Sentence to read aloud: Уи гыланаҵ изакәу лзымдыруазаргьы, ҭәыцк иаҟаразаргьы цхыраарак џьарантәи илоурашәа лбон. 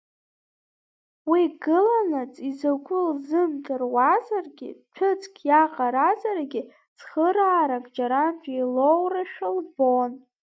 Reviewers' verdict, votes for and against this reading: accepted, 2, 1